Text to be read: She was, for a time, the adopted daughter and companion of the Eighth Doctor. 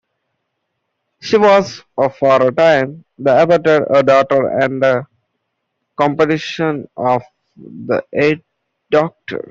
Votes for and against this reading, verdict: 0, 2, rejected